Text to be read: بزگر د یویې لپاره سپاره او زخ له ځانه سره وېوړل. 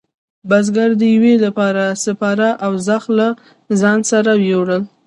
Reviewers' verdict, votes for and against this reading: rejected, 0, 2